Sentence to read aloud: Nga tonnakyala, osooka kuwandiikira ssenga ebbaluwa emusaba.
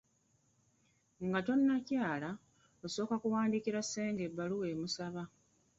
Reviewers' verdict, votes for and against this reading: rejected, 0, 3